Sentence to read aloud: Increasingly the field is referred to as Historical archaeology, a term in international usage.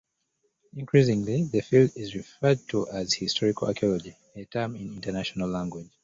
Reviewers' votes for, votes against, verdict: 0, 2, rejected